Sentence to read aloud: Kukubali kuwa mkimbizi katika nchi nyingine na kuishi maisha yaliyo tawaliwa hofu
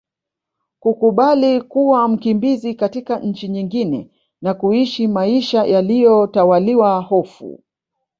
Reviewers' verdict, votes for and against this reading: accepted, 2, 1